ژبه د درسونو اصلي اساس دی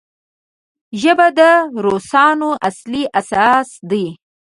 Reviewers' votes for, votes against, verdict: 0, 2, rejected